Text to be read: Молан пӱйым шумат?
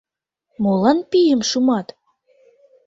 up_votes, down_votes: 0, 2